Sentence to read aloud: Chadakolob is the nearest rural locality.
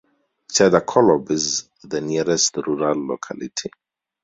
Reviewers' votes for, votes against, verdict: 4, 2, accepted